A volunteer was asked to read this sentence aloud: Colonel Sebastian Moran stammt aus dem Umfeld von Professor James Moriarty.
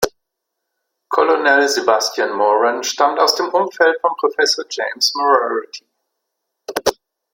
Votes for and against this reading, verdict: 0, 2, rejected